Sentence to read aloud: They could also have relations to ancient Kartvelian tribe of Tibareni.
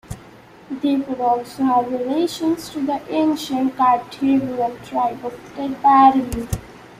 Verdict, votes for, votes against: rejected, 0, 2